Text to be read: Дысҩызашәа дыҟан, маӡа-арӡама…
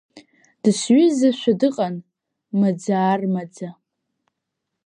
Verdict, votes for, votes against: rejected, 0, 2